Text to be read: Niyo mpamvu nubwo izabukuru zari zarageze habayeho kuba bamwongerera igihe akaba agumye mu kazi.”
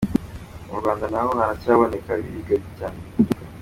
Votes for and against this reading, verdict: 0, 2, rejected